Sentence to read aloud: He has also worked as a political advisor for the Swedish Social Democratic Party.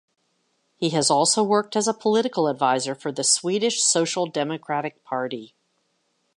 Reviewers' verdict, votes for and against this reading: accepted, 2, 0